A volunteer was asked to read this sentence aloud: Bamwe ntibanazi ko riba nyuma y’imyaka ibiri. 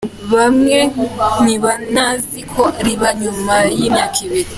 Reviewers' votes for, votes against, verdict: 3, 2, accepted